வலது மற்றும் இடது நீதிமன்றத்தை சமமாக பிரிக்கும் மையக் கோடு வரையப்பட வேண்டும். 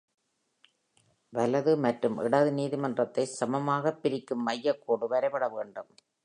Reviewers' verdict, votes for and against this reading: accepted, 2, 0